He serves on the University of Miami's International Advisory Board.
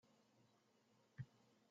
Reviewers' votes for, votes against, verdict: 0, 2, rejected